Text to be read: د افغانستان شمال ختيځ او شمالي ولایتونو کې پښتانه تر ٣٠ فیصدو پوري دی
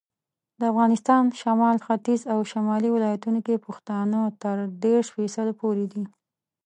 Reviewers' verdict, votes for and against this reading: rejected, 0, 2